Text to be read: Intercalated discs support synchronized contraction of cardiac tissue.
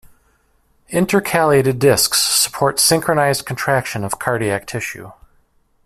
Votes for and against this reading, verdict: 3, 1, accepted